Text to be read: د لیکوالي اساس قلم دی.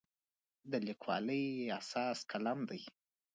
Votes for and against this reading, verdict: 0, 2, rejected